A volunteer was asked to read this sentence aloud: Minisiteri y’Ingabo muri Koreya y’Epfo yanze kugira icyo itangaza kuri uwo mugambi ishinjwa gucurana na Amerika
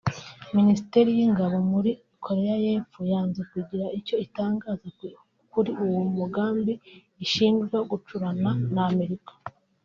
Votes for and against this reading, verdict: 0, 2, rejected